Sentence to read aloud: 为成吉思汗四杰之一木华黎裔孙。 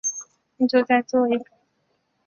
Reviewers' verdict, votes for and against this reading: rejected, 0, 2